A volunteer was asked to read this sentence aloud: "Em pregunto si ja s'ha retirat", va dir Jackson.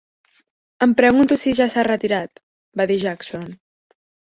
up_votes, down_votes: 3, 1